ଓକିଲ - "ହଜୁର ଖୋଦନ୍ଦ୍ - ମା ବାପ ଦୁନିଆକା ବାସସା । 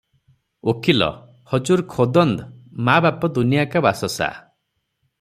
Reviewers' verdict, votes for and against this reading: accepted, 3, 0